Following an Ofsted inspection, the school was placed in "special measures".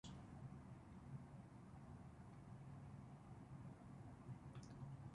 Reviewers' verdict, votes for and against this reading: rejected, 0, 2